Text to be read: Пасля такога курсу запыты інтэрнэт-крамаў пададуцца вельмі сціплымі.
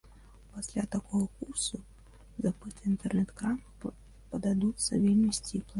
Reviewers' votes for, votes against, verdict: 0, 3, rejected